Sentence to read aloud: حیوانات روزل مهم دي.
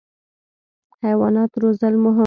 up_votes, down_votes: 1, 2